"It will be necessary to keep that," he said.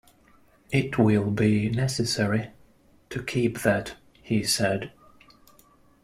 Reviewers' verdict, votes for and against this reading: accepted, 2, 0